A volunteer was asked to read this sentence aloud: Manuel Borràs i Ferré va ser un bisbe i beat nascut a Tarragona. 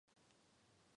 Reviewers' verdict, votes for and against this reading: rejected, 1, 2